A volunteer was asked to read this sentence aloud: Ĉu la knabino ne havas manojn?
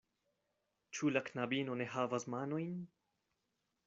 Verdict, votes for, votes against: accepted, 2, 0